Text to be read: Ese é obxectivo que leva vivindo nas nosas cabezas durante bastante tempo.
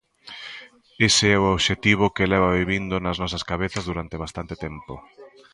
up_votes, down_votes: 0, 2